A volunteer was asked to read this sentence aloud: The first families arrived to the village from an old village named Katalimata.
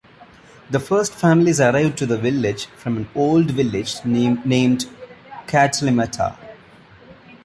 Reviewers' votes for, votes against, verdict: 1, 2, rejected